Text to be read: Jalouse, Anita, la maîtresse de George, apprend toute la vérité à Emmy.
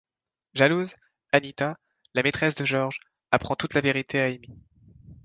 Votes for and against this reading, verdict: 2, 0, accepted